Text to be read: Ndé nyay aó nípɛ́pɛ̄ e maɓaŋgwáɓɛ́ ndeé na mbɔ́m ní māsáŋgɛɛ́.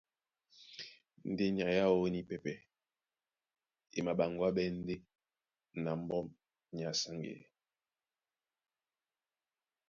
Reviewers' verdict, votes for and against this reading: rejected, 1, 2